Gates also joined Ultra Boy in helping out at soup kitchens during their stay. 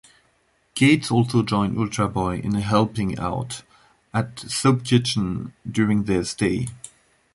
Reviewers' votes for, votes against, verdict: 1, 2, rejected